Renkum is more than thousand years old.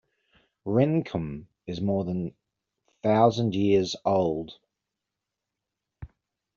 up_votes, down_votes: 0, 2